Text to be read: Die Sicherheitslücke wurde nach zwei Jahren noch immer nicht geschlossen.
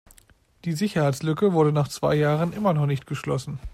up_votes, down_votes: 2, 1